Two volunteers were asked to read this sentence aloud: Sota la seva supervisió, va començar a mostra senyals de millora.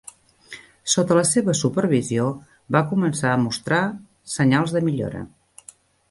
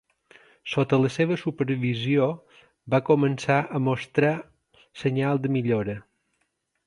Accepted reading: first